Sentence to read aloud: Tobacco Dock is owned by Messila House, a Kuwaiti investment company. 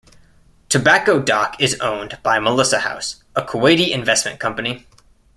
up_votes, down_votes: 0, 2